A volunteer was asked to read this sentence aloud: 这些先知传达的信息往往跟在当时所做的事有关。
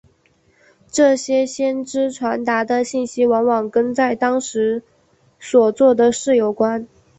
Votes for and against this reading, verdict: 4, 0, accepted